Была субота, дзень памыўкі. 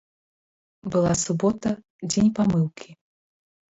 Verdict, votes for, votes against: rejected, 1, 2